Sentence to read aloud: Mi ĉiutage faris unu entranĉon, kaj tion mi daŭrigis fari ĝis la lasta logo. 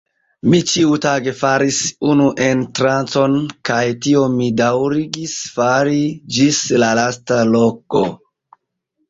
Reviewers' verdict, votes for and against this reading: rejected, 1, 2